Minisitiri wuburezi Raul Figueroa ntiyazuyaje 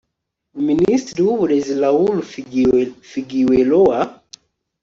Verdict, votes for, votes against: rejected, 1, 2